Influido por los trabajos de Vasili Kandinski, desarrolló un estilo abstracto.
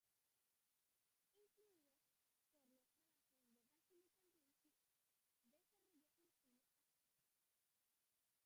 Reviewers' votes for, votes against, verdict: 0, 2, rejected